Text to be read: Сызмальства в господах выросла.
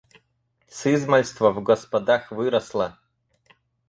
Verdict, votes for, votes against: accepted, 4, 2